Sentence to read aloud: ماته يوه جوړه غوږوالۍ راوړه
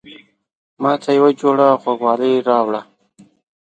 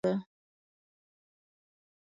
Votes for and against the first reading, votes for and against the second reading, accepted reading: 2, 0, 1, 2, first